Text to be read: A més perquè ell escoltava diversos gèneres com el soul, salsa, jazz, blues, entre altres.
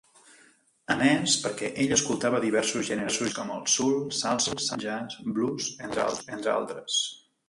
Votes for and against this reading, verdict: 1, 2, rejected